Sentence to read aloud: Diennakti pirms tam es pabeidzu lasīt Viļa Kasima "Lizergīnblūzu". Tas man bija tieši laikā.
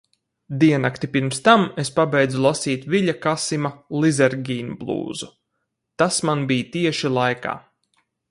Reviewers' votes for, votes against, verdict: 2, 2, rejected